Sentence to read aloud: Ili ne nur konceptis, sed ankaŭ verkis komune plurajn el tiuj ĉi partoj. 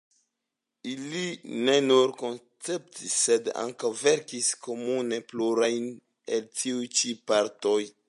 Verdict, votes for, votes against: accepted, 2, 0